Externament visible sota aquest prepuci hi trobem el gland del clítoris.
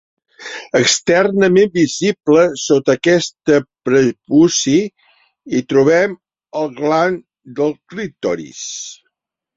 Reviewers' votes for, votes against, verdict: 0, 2, rejected